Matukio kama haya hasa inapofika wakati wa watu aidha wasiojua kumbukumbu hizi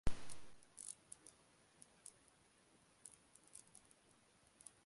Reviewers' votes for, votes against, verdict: 0, 3, rejected